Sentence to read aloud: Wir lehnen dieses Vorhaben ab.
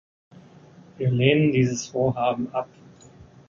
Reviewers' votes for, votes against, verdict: 3, 0, accepted